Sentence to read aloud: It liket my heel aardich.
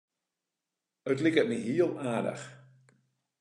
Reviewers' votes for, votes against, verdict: 1, 2, rejected